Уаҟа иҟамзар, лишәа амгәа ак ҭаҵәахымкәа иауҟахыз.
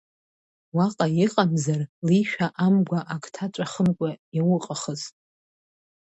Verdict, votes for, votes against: accepted, 2, 1